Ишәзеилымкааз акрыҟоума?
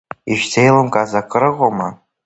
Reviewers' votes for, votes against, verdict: 2, 0, accepted